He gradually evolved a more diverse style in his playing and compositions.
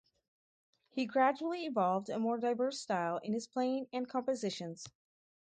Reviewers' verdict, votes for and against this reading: accepted, 2, 0